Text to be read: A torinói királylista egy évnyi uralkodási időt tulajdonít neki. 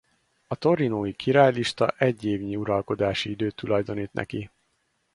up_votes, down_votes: 4, 0